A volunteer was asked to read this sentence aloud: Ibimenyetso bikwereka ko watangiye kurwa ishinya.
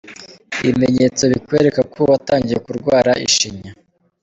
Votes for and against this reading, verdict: 1, 2, rejected